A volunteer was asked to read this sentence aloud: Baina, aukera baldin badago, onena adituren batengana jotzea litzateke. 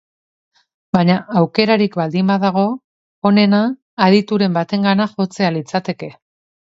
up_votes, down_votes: 0, 2